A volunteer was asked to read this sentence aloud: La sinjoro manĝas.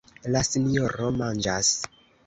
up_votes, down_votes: 2, 0